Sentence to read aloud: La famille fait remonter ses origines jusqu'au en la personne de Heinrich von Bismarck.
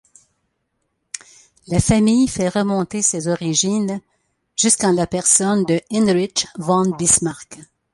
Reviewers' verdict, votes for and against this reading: rejected, 1, 2